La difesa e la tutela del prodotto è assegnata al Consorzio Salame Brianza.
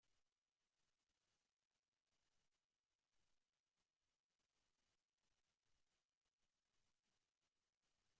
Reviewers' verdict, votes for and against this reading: rejected, 0, 2